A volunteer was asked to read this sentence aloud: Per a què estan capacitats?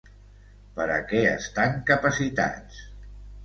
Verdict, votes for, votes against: rejected, 0, 2